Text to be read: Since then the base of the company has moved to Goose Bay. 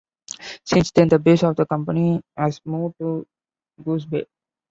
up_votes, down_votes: 2, 0